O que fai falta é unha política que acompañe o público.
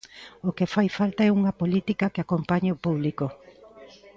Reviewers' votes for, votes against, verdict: 2, 0, accepted